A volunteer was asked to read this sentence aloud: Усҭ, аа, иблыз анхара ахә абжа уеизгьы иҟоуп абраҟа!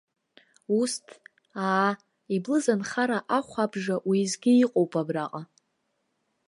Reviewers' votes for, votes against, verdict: 1, 2, rejected